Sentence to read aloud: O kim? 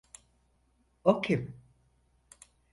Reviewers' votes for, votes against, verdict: 4, 0, accepted